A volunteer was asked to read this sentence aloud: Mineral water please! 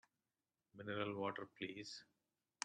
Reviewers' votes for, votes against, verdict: 2, 0, accepted